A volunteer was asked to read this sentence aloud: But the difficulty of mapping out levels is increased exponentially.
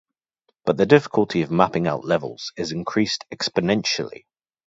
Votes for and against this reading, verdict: 2, 0, accepted